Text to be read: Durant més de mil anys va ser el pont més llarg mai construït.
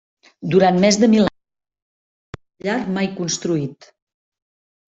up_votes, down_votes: 0, 2